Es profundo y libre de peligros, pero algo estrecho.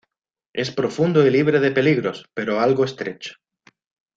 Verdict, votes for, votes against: accepted, 2, 0